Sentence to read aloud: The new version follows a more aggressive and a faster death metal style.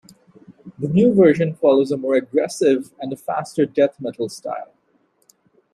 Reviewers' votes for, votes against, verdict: 2, 0, accepted